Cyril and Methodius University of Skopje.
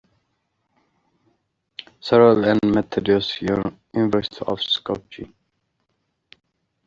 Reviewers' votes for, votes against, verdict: 2, 0, accepted